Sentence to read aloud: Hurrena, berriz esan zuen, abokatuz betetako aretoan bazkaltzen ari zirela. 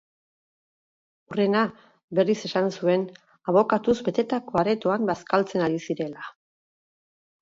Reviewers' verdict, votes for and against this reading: rejected, 2, 2